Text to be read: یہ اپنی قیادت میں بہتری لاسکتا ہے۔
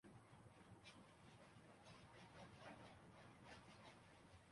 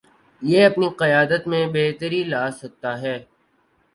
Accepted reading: second